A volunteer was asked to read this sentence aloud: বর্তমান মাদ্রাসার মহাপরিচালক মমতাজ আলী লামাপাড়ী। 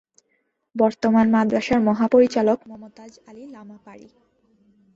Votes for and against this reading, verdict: 1, 3, rejected